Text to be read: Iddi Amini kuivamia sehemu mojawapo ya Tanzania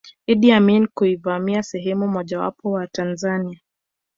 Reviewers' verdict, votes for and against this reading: rejected, 0, 2